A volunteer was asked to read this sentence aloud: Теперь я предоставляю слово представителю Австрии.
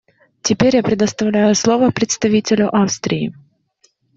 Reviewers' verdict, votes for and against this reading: accepted, 2, 0